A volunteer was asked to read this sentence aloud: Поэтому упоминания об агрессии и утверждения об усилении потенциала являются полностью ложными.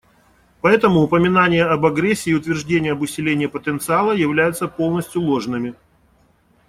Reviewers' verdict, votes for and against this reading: accepted, 2, 0